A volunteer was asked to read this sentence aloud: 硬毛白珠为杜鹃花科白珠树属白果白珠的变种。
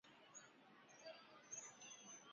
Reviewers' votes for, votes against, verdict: 1, 3, rejected